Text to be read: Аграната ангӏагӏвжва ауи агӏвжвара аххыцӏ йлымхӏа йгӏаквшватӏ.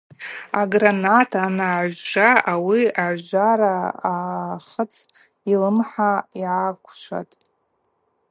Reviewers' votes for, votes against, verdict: 2, 0, accepted